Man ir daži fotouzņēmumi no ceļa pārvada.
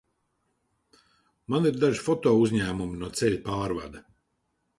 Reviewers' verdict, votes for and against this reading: accepted, 2, 0